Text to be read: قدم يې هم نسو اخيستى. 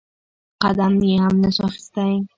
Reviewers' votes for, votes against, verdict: 0, 2, rejected